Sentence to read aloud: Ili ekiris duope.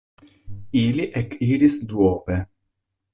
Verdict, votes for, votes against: accepted, 2, 0